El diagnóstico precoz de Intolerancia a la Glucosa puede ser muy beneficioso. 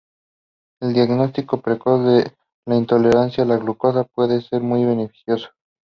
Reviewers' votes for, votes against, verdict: 0, 2, rejected